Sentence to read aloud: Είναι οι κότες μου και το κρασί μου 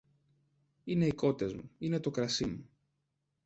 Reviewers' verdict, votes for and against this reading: rejected, 0, 3